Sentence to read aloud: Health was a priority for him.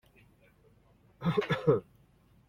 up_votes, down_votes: 0, 2